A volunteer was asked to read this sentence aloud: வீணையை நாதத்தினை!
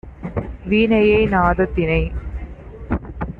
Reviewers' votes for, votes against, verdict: 2, 0, accepted